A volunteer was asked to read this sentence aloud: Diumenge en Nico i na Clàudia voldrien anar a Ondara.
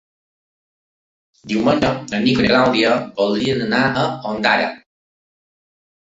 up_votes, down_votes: 0, 2